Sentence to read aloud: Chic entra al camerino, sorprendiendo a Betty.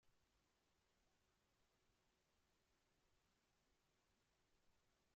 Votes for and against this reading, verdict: 0, 2, rejected